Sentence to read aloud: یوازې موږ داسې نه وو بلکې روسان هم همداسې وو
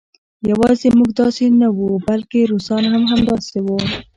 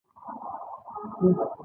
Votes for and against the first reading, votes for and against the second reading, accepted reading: 2, 0, 1, 2, first